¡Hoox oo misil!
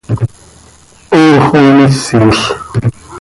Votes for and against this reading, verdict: 2, 0, accepted